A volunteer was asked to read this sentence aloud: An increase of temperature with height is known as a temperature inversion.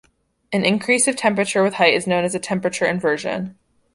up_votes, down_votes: 2, 0